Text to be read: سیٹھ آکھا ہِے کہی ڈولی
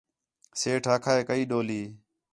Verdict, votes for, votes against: accepted, 4, 0